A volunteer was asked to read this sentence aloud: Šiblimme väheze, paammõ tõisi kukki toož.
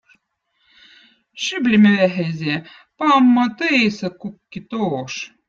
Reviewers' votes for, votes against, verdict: 2, 1, accepted